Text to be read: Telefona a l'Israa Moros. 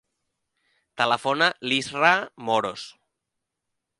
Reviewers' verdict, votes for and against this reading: rejected, 0, 2